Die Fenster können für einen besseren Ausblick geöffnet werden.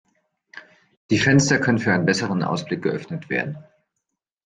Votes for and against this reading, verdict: 2, 1, accepted